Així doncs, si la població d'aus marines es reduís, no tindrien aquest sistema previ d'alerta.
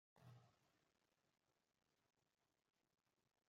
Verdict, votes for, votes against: rejected, 0, 2